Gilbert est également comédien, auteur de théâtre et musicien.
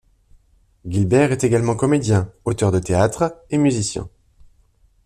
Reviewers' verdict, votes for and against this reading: rejected, 0, 2